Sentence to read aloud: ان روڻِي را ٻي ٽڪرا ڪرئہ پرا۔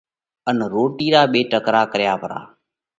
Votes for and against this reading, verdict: 2, 0, accepted